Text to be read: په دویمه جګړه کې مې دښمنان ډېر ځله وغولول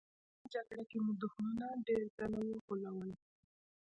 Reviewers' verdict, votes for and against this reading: accepted, 2, 1